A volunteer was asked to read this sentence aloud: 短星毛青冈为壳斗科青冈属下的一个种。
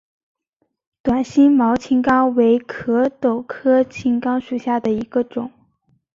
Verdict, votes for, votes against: accepted, 2, 0